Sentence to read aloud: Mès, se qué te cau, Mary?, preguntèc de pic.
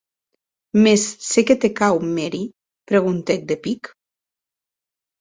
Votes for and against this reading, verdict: 4, 0, accepted